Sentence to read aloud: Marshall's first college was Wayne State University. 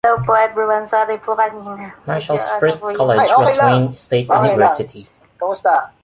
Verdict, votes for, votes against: rejected, 1, 2